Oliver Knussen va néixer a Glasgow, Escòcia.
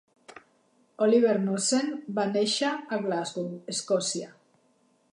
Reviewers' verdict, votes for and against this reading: accepted, 2, 0